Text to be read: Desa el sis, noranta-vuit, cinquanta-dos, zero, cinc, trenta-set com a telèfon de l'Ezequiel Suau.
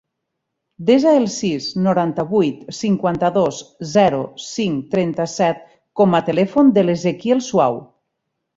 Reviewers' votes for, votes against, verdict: 4, 0, accepted